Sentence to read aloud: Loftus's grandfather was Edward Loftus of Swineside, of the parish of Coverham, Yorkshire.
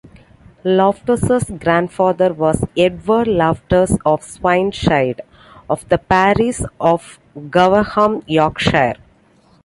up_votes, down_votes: 1, 2